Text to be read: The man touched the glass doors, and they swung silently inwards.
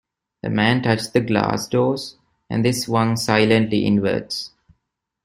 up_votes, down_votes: 2, 0